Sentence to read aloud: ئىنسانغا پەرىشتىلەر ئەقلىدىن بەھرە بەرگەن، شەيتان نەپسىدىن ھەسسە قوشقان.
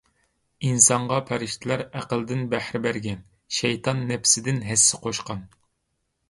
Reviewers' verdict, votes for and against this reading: accepted, 2, 0